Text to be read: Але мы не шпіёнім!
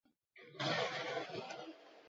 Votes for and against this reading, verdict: 0, 2, rejected